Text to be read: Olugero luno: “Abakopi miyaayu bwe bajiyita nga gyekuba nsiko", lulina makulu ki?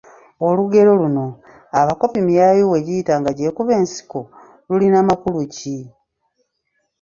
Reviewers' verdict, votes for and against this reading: rejected, 1, 2